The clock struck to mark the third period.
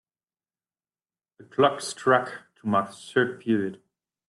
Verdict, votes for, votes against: rejected, 0, 2